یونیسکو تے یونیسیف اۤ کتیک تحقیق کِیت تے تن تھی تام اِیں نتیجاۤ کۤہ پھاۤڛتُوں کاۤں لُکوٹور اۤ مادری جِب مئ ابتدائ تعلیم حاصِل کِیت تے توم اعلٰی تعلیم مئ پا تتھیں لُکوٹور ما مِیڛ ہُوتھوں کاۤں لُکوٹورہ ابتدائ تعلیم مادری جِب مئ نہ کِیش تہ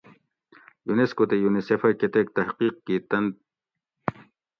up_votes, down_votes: 0, 2